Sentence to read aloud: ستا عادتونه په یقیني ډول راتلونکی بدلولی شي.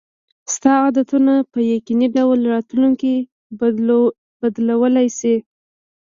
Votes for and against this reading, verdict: 1, 2, rejected